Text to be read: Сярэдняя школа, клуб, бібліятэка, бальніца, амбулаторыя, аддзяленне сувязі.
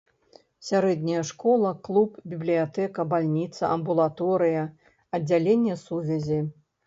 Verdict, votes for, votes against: accepted, 2, 0